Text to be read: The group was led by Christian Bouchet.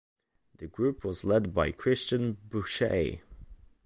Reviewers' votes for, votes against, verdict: 2, 0, accepted